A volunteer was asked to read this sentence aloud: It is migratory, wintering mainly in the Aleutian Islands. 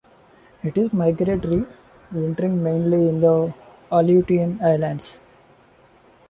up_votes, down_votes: 0, 2